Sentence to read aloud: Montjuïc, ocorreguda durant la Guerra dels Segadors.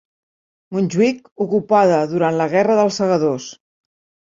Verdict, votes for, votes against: rejected, 1, 2